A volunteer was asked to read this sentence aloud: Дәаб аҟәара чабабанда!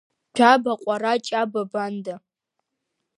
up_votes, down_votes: 0, 2